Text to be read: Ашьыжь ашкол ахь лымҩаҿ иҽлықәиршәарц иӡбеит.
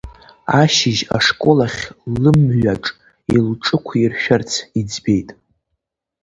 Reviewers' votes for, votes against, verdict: 1, 2, rejected